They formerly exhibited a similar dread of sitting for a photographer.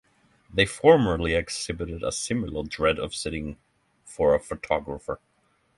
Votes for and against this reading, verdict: 6, 3, accepted